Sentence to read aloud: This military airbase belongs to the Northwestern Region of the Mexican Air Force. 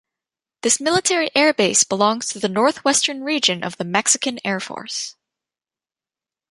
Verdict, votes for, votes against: accepted, 2, 1